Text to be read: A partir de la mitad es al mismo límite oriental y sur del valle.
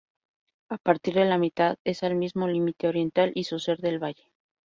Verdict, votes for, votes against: accepted, 2, 0